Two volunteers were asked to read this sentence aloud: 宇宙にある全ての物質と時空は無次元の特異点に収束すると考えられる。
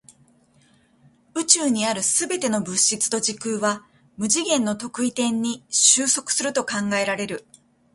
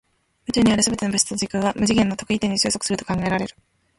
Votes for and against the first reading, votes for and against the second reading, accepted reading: 2, 0, 0, 2, first